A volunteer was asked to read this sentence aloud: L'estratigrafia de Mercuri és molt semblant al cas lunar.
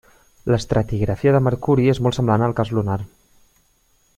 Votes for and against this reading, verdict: 2, 0, accepted